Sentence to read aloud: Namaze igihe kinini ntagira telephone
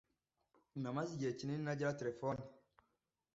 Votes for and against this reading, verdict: 2, 0, accepted